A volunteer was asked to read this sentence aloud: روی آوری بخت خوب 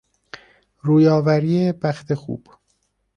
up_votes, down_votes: 2, 0